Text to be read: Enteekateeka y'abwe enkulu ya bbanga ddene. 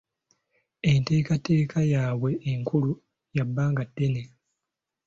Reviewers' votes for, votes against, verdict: 2, 0, accepted